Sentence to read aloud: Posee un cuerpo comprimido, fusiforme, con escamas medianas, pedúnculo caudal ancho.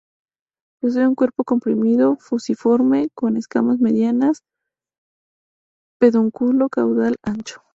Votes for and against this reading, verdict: 4, 0, accepted